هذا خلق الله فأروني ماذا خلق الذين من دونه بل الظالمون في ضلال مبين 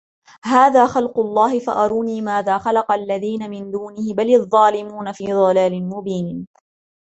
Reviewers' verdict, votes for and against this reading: accepted, 2, 0